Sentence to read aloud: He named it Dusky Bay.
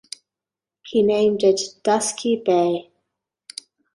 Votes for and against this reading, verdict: 2, 0, accepted